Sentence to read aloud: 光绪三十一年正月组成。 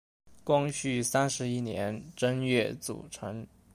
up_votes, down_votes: 2, 0